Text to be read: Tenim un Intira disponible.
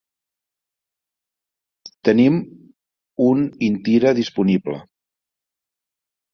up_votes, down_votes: 3, 0